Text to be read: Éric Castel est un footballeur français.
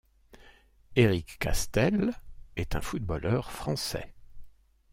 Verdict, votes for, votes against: accepted, 2, 0